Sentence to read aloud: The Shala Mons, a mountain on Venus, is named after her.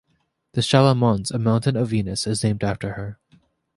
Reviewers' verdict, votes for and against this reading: accepted, 2, 0